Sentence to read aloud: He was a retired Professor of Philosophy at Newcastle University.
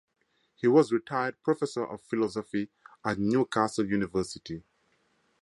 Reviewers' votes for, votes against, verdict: 4, 0, accepted